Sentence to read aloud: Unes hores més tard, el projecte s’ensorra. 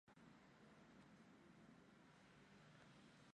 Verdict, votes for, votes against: rejected, 0, 2